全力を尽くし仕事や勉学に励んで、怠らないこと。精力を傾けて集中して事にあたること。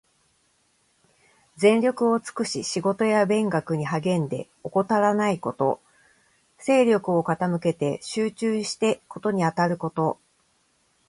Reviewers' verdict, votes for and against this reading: accepted, 2, 0